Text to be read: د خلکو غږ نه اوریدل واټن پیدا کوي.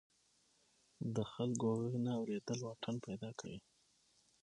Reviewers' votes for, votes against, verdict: 3, 6, rejected